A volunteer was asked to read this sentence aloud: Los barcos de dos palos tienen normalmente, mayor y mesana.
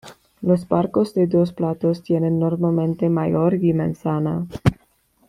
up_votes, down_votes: 1, 2